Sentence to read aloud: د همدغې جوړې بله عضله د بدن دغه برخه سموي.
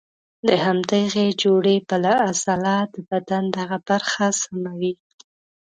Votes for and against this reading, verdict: 0, 2, rejected